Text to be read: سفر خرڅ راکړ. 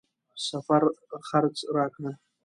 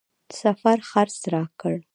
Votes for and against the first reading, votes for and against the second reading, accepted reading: 2, 0, 1, 2, first